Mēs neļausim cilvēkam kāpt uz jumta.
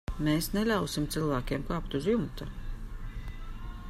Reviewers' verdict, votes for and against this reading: rejected, 1, 2